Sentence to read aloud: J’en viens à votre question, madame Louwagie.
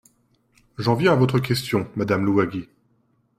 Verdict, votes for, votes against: accepted, 2, 0